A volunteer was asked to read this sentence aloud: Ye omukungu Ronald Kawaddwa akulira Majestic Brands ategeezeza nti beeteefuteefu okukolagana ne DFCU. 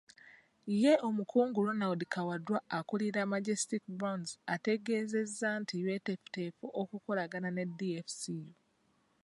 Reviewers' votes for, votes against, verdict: 2, 1, accepted